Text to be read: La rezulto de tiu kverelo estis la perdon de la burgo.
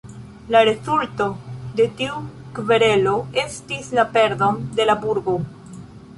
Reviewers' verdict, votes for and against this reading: rejected, 1, 3